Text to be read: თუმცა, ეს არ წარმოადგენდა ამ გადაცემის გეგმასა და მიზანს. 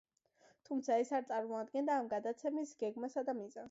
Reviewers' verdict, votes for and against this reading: accepted, 2, 0